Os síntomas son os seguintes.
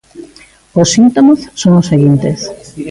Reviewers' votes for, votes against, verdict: 2, 1, accepted